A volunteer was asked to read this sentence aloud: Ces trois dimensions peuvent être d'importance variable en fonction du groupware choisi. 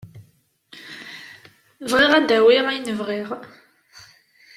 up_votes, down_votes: 1, 2